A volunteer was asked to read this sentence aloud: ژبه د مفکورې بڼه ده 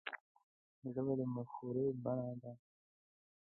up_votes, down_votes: 1, 2